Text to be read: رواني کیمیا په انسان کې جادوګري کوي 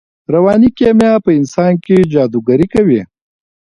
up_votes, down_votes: 1, 2